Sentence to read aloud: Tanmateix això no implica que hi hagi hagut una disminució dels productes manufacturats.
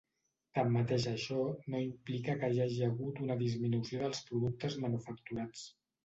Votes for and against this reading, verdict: 0, 2, rejected